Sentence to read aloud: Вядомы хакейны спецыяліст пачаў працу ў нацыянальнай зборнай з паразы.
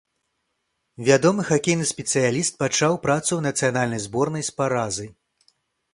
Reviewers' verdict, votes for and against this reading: accepted, 2, 0